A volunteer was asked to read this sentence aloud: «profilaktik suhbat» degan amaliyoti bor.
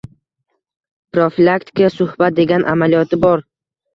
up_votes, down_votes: 2, 1